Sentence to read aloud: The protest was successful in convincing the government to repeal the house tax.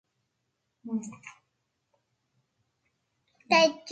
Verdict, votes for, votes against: rejected, 0, 2